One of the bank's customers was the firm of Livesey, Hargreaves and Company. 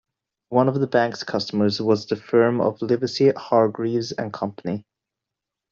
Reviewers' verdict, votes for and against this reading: accepted, 2, 0